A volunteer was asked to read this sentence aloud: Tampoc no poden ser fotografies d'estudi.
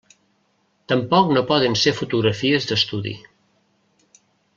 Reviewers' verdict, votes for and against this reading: accepted, 3, 0